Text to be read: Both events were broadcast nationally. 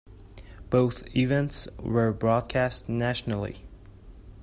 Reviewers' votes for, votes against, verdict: 2, 0, accepted